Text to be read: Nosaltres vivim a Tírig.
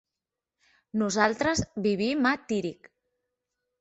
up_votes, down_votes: 3, 0